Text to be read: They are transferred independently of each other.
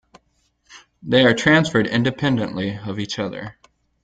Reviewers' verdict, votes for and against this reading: accepted, 2, 0